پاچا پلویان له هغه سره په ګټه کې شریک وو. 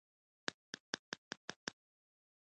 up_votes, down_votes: 3, 1